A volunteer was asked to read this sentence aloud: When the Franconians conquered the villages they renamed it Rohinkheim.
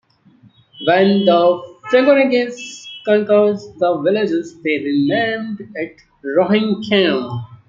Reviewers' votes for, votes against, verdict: 0, 2, rejected